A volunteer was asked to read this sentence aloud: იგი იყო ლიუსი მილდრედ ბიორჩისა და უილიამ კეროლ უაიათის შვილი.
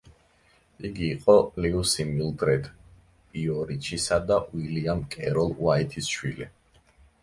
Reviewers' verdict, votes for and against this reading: rejected, 1, 2